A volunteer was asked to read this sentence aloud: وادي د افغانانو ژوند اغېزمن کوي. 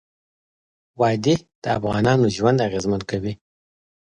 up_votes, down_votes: 2, 0